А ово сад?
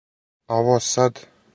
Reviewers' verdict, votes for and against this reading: accepted, 4, 0